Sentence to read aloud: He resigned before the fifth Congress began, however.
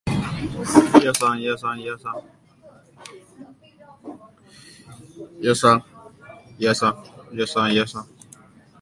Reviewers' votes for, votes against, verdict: 0, 2, rejected